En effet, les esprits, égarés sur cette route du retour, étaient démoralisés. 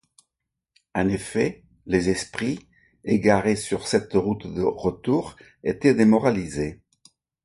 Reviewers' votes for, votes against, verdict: 1, 2, rejected